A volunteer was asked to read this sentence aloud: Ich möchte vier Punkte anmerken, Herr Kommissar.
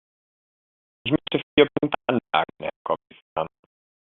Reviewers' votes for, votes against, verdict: 0, 2, rejected